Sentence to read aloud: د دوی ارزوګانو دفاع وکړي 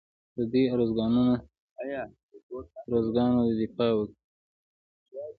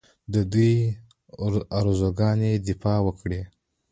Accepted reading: first